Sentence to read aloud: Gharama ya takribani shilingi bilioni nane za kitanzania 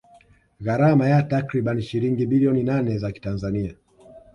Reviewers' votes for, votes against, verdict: 1, 2, rejected